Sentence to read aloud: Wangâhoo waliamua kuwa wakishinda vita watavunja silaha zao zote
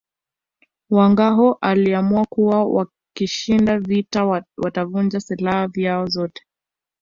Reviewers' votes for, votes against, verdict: 2, 0, accepted